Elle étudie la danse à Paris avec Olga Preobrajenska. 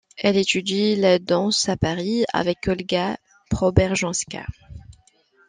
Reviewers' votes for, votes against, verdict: 2, 0, accepted